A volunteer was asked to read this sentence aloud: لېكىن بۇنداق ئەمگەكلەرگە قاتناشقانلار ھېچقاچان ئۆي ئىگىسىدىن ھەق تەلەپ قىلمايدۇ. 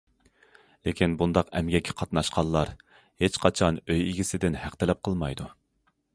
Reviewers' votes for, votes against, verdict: 0, 2, rejected